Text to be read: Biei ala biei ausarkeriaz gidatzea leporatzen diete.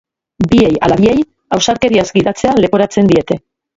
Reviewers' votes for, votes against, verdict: 0, 3, rejected